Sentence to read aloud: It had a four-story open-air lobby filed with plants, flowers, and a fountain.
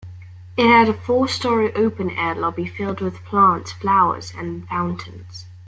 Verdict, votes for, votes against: rejected, 0, 2